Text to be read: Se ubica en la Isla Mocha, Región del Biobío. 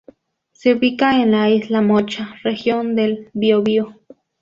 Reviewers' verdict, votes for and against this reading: accepted, 2, 0